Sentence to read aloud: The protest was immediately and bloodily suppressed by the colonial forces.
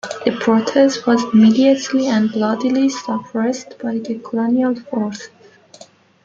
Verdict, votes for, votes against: rejected, 1, 2